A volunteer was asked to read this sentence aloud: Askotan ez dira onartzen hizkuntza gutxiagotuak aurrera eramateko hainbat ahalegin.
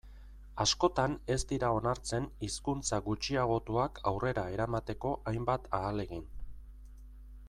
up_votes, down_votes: 2, 0